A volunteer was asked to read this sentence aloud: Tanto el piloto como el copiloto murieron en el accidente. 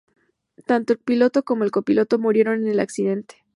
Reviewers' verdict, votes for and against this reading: accepted, 4, 0